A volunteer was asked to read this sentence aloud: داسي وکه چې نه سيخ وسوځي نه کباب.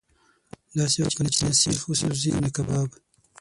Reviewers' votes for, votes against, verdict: 3, 6, rejected